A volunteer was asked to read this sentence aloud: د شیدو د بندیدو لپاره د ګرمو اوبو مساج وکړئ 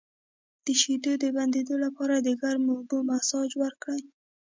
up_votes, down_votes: 0, 2